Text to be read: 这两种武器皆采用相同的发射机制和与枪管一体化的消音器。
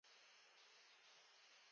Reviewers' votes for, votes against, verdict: 0, 2, rejected